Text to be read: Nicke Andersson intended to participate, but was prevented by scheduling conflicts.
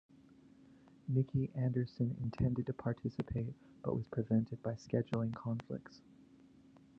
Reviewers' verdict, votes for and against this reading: accepted, 2, 0